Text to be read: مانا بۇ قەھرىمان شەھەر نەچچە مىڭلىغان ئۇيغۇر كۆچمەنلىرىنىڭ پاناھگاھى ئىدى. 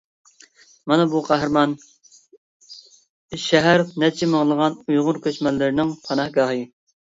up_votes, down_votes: 0, 2